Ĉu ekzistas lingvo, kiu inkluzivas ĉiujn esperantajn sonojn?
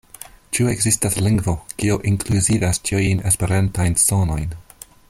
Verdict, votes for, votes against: accepted, 2, 0